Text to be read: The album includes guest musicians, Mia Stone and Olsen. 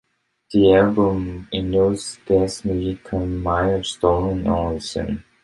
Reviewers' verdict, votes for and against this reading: rejected, 0, 2